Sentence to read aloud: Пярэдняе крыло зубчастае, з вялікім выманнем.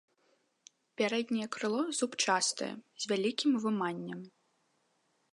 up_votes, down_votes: 2, 0